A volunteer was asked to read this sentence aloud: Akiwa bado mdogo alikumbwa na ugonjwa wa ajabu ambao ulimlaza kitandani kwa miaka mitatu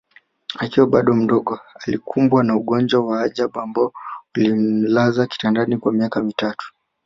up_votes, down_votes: 4, 0